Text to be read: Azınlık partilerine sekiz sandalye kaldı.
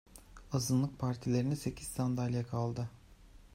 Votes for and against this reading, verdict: 2, 0, accepted